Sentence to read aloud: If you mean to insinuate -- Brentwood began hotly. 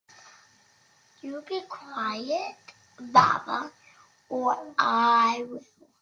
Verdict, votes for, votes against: rejected, 0, 2